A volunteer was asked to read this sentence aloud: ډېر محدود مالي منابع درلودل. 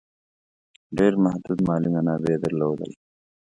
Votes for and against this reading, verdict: 1, 2, rejected